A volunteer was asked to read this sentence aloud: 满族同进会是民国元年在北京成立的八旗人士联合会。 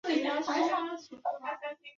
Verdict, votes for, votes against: rejected, 1, 2